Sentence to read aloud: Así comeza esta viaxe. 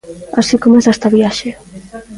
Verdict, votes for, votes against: rejected, 1, 2